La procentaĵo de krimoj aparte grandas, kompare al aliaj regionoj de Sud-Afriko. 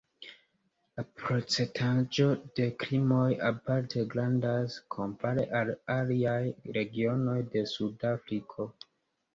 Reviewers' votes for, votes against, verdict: 2, 0, accepted